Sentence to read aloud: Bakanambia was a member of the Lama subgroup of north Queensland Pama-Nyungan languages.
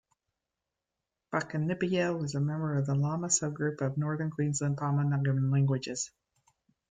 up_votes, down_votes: 0, 2